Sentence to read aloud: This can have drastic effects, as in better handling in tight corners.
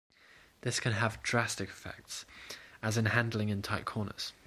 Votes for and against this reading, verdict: 1, 2, rejected